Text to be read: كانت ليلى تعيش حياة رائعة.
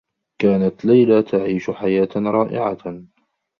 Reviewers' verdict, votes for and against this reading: accepted, 2, 0